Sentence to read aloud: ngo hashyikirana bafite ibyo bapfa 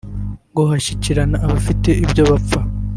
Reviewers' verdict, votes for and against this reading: rejected, 0, 2